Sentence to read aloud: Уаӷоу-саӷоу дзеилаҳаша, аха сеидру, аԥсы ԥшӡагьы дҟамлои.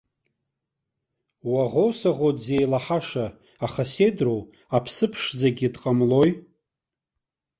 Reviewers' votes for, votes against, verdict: 2, 0, accepted